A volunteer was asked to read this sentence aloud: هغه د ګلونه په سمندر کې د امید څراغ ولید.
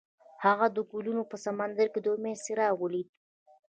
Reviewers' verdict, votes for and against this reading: accepted, 2, 0